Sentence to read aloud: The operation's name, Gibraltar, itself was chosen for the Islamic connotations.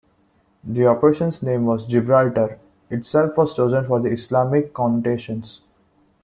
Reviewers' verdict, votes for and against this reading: rejected, 0, 2